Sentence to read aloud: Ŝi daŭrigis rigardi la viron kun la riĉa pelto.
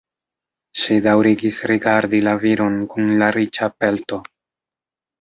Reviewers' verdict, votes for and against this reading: rejected, 1, 2